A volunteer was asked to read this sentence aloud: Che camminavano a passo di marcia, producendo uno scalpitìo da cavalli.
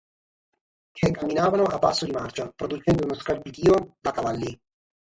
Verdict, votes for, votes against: rejected, 3, 3